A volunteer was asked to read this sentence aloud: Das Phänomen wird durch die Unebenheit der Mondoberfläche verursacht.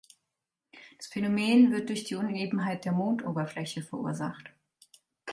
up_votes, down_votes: 2, 4